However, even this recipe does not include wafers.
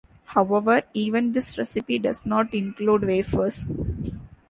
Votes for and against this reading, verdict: 2, 0, accepted